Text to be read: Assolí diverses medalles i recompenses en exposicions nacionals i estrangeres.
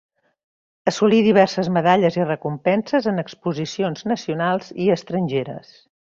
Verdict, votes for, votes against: accepted, 3, 0